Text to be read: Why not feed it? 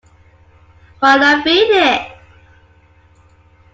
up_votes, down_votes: 1, 2